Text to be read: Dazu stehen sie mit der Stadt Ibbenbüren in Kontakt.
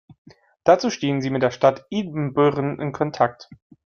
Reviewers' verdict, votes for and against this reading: accepted, 2, 0